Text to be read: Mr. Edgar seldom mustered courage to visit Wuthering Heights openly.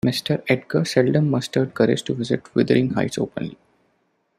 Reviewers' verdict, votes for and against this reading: rejected, 0, 2